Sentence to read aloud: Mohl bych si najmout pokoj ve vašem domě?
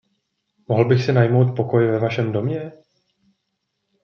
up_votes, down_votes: 2, 0